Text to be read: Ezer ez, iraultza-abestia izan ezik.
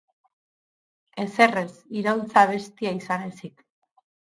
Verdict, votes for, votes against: accepted, 4, 0